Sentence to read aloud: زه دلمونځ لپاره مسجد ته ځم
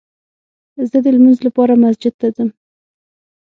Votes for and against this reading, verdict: 6, 0, accepted